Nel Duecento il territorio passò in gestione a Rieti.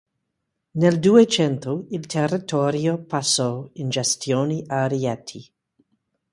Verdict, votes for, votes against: accepted, 2, 0